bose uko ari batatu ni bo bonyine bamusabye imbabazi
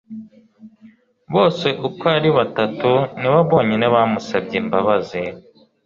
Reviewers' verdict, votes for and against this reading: accepted, 2, 0